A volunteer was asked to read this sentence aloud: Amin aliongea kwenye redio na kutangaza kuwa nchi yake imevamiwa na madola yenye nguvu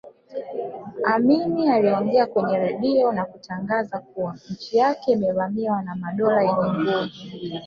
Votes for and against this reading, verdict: 0, 2, rejected